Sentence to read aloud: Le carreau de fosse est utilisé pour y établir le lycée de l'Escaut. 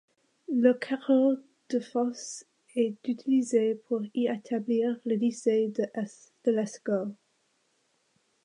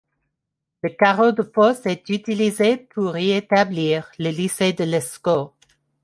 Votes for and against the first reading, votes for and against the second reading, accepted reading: 0, 2, 2, 0, second